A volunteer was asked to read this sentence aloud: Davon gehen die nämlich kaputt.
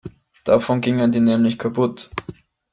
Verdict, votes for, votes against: rejected, 0, 2